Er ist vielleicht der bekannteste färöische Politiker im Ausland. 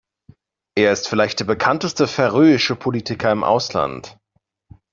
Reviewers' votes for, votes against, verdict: 2, 0, accepted